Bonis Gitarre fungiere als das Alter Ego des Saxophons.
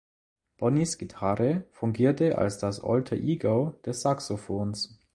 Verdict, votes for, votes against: rejected, 1, 2